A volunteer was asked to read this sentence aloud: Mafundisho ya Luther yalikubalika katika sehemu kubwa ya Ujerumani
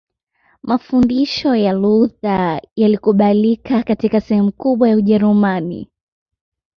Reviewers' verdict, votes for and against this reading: accepted, 2, 0